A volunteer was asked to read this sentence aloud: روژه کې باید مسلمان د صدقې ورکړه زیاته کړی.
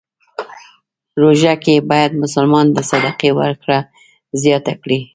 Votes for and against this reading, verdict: 1, 2, rejected